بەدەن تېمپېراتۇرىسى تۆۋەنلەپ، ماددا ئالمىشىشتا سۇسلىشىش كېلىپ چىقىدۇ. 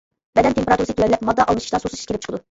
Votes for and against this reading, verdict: 1, 2, rejected